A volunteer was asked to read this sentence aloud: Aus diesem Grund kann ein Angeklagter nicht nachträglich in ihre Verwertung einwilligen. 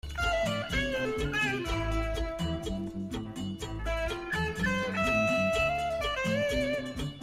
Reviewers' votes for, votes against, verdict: 0, 2, rejected